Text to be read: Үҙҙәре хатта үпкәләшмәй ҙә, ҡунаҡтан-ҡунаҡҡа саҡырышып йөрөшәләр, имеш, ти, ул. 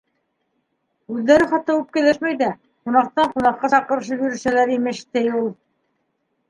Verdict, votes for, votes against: rejected, 1, 2